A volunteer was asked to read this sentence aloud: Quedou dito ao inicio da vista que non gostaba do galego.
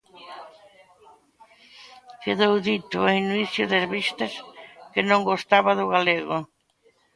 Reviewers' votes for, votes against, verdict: 1, 2, rejected